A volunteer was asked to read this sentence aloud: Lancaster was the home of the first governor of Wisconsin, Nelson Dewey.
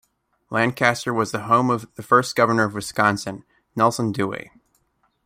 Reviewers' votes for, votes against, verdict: 2, 0, accepted